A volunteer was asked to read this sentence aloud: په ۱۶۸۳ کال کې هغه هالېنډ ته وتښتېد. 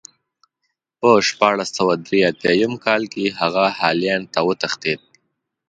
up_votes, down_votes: 0, 2